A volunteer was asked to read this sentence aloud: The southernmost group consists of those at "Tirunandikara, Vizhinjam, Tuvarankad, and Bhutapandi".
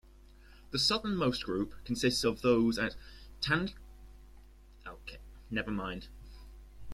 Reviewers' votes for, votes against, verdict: 0, 2, rejected